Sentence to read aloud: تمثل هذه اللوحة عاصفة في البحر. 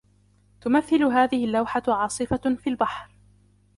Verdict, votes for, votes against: accepted, 2, 0